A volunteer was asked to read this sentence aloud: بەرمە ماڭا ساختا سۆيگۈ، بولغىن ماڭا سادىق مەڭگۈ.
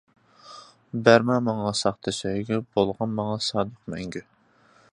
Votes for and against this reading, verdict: 2, 0, accepted